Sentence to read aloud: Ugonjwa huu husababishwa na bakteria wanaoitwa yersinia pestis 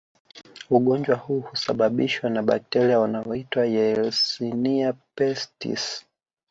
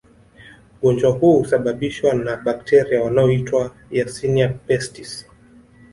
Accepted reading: first